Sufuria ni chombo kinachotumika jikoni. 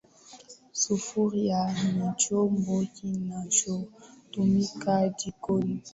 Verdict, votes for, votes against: accepted, 2, 0